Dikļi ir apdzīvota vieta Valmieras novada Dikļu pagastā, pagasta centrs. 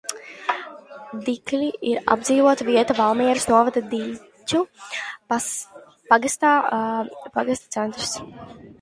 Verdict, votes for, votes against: rejected, 1, 2